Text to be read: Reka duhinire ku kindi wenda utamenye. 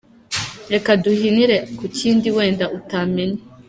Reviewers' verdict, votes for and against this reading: accepted, 3, 0